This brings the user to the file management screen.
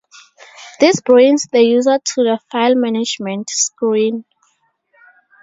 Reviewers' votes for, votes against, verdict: 2, 2, rejected